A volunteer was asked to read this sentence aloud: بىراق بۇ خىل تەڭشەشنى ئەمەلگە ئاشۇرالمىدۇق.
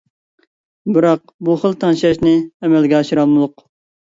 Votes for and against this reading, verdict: 0, 2, rejected